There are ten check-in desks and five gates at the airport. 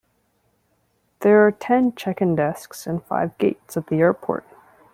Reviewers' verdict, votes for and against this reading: accepted, 2, 0